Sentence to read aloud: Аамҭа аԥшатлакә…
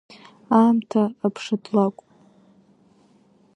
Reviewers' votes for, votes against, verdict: 2, 0, accepted